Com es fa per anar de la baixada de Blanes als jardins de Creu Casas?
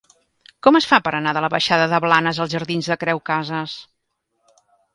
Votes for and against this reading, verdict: 2, 0, accepted